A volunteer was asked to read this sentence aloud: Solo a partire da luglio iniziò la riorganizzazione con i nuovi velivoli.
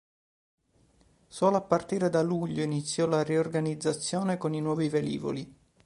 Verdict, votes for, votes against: accepted, 2, 0